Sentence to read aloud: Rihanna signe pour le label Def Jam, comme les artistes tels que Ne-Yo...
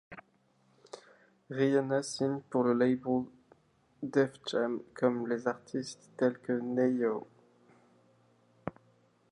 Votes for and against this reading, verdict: 1, 2, rejected